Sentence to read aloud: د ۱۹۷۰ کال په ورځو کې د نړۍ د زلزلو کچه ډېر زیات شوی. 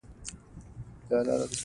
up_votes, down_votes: 0, 2